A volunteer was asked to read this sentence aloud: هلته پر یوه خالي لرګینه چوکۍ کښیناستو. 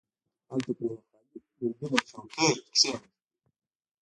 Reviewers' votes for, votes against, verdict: 1, 2, rejected